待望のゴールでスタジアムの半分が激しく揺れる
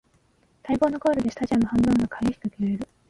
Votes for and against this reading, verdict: 0, 2, rejected